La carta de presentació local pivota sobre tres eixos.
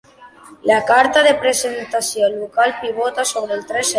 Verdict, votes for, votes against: accepted, 2, 1